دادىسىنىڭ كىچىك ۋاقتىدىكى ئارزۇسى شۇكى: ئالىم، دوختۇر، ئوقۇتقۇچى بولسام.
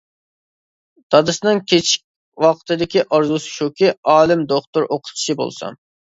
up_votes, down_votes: 0, 2